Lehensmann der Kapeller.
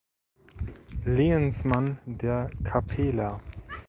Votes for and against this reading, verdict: 1, 2, rejected